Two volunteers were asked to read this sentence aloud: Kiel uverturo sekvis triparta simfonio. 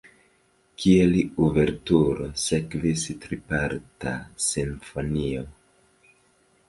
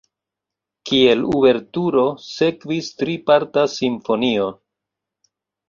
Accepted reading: second